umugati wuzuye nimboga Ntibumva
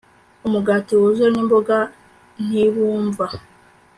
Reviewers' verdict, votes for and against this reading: accepted, 4, 0